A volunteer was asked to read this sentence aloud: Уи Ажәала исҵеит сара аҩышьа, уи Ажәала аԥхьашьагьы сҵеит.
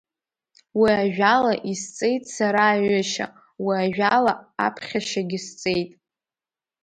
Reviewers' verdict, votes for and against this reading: rejected, 1, 2